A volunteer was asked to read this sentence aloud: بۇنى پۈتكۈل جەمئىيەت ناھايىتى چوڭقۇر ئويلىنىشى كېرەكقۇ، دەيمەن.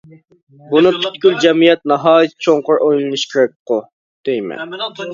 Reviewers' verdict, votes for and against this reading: rejected, 0, 2